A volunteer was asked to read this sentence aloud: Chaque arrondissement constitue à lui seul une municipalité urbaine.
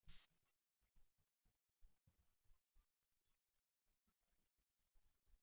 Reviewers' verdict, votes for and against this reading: rejected, 0, 2